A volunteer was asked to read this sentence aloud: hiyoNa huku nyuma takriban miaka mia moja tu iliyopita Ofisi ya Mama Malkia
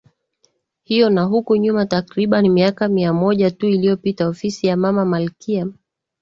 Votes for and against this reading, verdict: 2, 0, accepted